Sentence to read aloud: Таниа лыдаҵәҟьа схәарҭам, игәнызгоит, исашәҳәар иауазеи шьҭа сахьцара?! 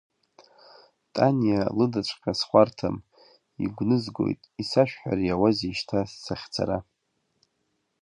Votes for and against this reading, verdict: 2, 0, accepted